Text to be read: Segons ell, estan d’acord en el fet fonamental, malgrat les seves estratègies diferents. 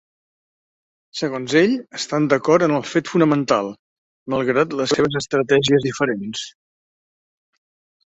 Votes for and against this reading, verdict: 6, 0, accepted